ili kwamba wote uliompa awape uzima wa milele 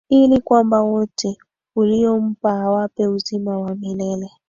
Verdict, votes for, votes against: rejected, 1, 2